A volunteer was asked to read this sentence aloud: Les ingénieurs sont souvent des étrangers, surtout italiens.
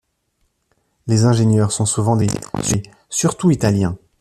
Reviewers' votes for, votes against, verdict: 1, 2, rejected